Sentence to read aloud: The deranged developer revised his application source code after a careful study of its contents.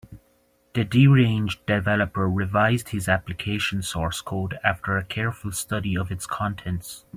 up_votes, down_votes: 2, 1